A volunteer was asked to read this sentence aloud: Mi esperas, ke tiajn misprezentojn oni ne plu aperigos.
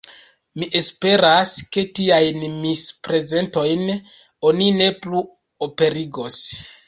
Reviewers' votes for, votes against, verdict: 1, 2, rejected